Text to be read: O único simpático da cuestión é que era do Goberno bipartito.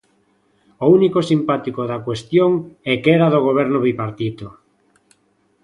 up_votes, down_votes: 2, 0